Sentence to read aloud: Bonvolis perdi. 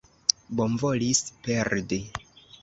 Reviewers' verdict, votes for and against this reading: accepted, 2, 0